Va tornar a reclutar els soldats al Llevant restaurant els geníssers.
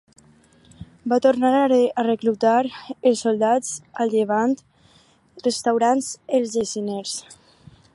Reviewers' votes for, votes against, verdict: 0, 4, rejected